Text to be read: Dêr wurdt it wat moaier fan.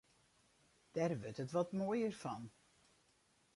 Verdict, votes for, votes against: rejected, 2, 2